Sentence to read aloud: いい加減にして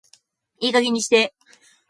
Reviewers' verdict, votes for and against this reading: accepted, 2, 0